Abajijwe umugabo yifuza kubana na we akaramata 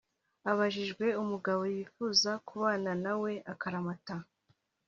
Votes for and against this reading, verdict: 1, 2, rejected